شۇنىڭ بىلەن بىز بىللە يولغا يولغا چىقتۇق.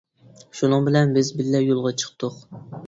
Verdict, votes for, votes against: accepted, 2, 0